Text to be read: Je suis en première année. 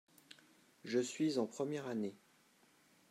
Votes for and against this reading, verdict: 2, 0, accepted